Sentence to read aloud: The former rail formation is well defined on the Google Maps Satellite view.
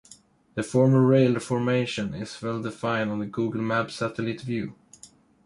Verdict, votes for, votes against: rejected, 1, 2